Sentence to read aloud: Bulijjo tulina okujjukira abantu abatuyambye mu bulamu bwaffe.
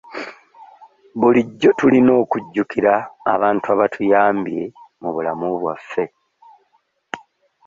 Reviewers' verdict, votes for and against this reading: accepted, 2, 1